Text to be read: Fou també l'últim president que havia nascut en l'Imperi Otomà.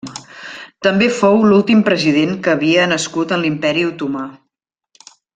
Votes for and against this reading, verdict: 1, 2, rejected